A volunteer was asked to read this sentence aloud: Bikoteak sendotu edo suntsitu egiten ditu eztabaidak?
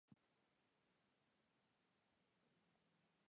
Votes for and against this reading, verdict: 1, 3, rejected